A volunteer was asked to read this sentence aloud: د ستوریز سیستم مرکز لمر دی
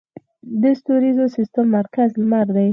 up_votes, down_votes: 2, 4